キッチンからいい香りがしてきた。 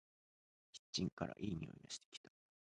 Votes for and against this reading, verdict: 1, 2, rejected